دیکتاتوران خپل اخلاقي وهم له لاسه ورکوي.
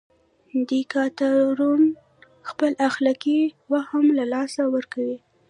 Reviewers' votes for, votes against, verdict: 0, 2, rejected